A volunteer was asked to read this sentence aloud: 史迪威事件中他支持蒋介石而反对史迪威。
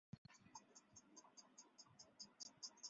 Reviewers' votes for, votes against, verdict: 0, 2, rejected